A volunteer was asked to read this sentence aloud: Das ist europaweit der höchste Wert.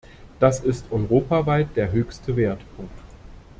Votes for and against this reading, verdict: 0, 2, rejected